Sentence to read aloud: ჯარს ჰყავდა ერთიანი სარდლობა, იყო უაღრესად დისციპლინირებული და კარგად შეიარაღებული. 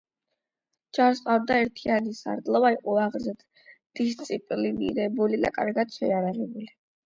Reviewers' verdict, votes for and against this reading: rejected, 4, 8